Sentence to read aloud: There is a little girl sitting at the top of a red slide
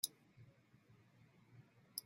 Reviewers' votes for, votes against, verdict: 0, 3, rejected